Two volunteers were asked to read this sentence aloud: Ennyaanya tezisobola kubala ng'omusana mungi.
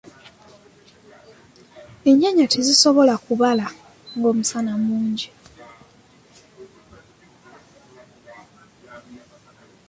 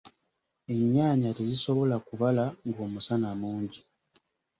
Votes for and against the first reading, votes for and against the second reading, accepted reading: 1, 2, 2, 0, second